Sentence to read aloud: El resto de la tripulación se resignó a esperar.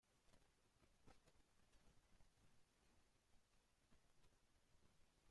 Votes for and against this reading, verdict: 0, 2, rejected